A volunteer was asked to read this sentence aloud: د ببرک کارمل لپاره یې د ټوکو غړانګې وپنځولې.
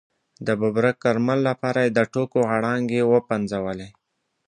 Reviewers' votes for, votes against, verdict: 2, 0, accepted